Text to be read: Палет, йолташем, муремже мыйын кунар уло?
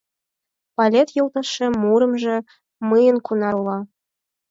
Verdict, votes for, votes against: rejected, 0, 4